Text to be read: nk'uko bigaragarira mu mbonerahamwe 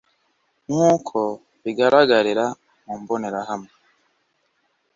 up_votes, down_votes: 2, 0